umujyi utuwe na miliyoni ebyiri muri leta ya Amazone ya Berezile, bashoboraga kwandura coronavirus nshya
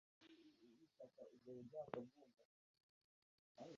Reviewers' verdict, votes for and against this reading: rejected, 0, 2